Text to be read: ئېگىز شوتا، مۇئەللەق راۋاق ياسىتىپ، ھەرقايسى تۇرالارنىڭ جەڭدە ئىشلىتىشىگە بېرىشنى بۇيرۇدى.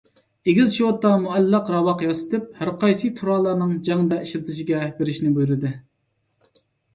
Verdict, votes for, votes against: accepted, 2, 0